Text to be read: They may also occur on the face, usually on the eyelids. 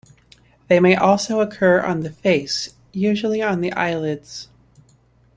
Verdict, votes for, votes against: accepted, 2, 0